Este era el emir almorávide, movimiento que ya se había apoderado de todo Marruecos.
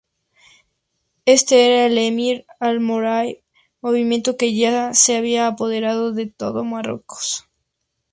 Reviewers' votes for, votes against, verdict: 0, 2, rejected